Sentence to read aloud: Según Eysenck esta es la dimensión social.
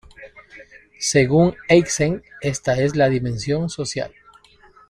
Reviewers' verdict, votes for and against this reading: rejected, 1, 2